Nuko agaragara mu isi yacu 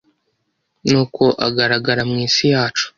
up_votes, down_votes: 1, 2